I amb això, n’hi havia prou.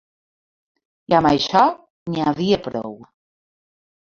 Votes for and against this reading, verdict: 0, 2, rejected